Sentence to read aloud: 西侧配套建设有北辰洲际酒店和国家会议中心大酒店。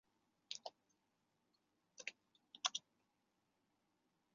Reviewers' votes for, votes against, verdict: 1, 4, rejected